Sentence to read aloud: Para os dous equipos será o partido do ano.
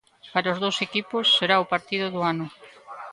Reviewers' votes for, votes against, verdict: 2, 0, accepted